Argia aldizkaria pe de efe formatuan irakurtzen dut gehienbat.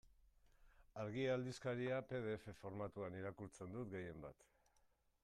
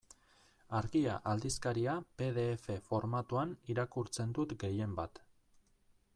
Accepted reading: second